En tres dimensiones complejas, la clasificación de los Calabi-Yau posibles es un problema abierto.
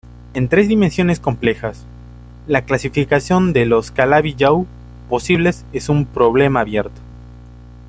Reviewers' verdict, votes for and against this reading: accepted, 2, 0